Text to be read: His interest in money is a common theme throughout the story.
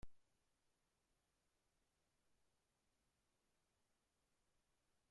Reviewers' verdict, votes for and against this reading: rejected, 0, 2